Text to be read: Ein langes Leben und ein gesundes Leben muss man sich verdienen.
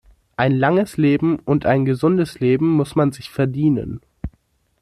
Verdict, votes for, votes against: accepted, 2, 0